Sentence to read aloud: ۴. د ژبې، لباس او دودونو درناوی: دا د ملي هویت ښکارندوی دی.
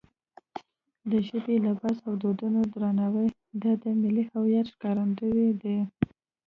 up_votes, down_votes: 0, 2